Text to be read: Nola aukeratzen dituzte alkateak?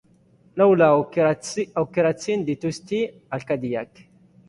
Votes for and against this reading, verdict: 0, 2, rejected